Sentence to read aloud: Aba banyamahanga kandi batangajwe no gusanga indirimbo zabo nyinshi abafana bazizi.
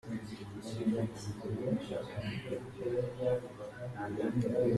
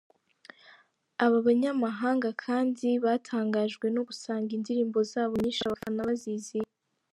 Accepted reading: second